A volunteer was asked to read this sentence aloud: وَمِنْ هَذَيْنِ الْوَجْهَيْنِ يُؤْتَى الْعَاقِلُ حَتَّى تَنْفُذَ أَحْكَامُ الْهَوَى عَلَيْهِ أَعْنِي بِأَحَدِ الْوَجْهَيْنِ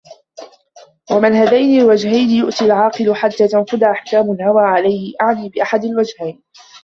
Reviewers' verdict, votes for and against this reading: rejected, 0, 2